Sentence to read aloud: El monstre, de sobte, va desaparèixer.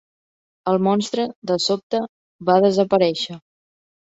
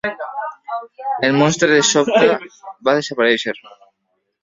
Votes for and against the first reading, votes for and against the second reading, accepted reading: 3, 0, 1, 2, first